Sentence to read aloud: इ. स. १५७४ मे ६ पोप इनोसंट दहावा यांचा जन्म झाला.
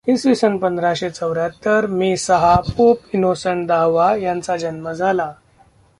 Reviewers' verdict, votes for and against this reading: rejected, 0, 2